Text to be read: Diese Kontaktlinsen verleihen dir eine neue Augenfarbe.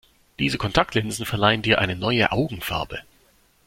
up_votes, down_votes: 2, 0